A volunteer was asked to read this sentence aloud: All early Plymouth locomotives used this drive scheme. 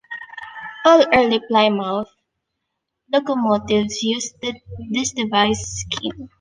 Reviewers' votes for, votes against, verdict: 0, 2, rejected